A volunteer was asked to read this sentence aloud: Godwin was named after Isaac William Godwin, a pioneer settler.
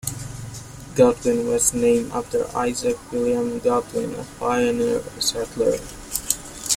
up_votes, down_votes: 2, 1